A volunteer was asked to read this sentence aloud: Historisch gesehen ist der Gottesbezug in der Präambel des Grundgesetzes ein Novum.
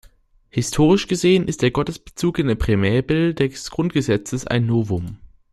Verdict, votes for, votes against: rejected, 1, 2